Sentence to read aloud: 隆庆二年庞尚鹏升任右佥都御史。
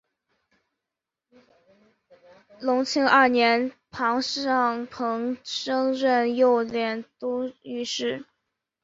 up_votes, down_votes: 0, 2